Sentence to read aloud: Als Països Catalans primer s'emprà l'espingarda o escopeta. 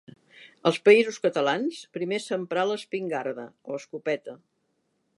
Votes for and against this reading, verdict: 2, 0, accepted